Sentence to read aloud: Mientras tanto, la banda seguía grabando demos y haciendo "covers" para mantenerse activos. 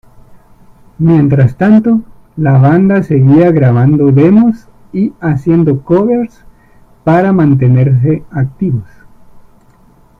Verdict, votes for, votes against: accepted, 2, 1